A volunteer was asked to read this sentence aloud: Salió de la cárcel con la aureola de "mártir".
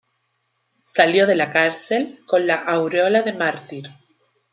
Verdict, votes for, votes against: accepted, 3, 1